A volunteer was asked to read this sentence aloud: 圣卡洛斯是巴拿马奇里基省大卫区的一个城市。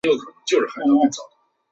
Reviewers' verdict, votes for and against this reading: rejected, 0, 5